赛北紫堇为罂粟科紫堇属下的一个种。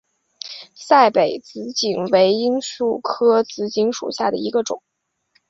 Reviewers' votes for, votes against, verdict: 3, 0, accepted